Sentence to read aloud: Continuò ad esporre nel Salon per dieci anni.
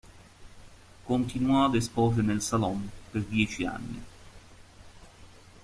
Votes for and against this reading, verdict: 1, 2, rejected